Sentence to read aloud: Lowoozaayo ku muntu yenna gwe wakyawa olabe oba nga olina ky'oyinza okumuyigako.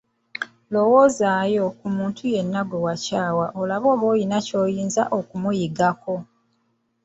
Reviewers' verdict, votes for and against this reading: accepted, 2, 1